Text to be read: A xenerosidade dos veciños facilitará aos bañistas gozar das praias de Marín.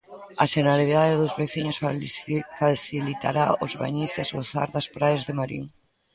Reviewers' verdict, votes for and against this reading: rejected, 0, 2